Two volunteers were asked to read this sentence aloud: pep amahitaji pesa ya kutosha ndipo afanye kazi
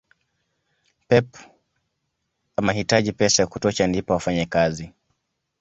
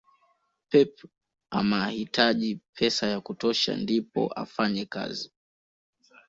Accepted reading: first